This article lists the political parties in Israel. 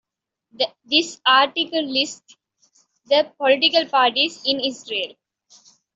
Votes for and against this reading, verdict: 1, 2, rejected